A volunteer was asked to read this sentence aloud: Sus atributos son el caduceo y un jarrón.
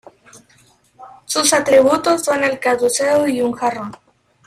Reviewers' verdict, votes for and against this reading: rejected, 0, 2